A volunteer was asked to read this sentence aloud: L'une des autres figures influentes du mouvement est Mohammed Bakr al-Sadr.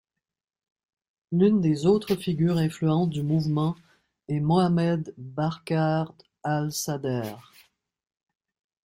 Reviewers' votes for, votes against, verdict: 2, 0, accepted